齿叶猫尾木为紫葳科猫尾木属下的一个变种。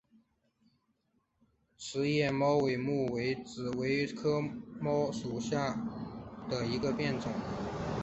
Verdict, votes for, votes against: rejected, 0, 2